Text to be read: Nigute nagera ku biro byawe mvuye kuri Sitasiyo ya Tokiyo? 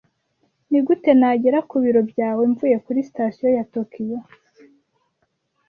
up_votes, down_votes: 2, 0